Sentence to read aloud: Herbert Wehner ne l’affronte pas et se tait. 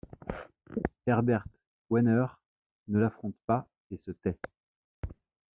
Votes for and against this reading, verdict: 1, 2, rejected